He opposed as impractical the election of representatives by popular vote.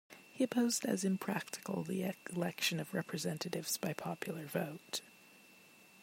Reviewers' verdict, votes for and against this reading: rejected, 1, 2